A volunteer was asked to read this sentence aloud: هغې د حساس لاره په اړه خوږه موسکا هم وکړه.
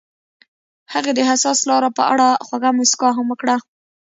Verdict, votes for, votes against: rejected, 1, 2